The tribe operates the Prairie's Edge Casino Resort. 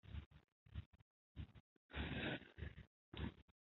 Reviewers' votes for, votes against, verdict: 1, 2, rejected